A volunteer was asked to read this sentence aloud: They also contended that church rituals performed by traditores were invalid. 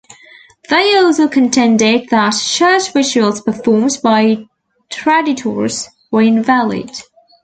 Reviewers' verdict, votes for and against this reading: accepted, 2, 0